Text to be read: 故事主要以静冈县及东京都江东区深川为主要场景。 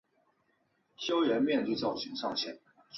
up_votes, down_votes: 0, 3